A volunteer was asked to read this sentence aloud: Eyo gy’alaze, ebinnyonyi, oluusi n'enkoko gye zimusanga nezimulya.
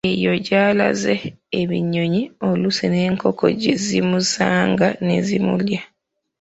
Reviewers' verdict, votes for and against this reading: rejected, 0, 2